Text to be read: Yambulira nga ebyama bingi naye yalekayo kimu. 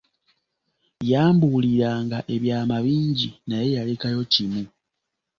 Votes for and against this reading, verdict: 2, 1, accepted